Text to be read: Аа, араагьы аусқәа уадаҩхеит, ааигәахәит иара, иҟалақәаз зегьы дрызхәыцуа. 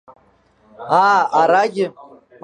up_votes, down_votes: 1, 2